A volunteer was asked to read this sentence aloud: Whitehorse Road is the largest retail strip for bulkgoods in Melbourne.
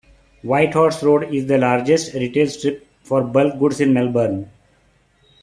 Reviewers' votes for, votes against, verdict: 2, 0, accepted